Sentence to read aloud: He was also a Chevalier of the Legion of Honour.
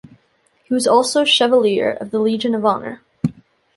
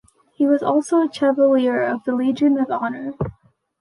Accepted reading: second